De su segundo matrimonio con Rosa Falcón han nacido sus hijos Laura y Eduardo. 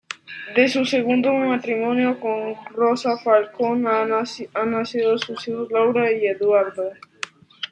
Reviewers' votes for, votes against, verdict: 1, 2, rejected